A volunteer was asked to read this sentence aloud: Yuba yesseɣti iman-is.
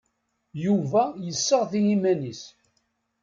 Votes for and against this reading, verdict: 2, 0, accepted